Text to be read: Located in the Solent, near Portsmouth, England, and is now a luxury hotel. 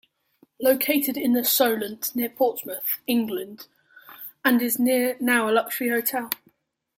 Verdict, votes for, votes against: rejected, 0, 2